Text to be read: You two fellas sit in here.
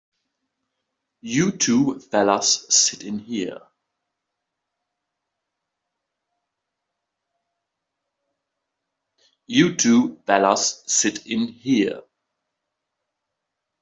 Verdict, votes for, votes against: accepted, 2, 0